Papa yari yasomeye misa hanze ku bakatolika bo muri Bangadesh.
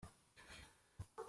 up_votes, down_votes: 0, 2